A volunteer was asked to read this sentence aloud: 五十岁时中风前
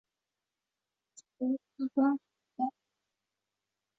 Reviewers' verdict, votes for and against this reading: rejected, 0, 3